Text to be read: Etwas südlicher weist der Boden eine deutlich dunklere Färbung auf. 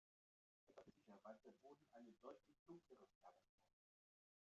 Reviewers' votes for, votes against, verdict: 0, 2, rejected